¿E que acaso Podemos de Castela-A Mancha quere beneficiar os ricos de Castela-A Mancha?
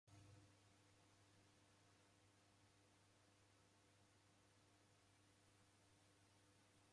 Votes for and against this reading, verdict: 0, 2, rejected